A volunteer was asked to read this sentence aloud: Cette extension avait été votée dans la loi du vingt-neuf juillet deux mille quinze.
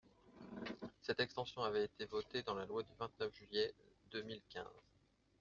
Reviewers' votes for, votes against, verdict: 2, 0, accepted